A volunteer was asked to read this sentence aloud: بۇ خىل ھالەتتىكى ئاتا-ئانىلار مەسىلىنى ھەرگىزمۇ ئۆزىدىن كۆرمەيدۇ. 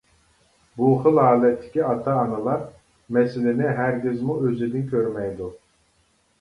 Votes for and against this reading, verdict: 2, 0, accepted